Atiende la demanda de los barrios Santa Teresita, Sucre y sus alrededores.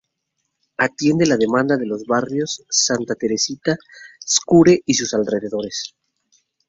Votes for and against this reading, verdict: 0, 2, rejected